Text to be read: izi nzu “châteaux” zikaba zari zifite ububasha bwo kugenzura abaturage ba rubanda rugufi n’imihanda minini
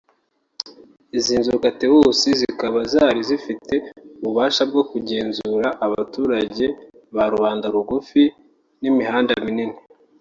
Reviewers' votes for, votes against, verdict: 0, 2, rejected